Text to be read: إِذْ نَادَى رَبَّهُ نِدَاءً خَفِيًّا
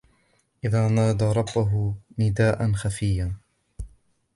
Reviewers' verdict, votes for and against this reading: rejected, 1, 2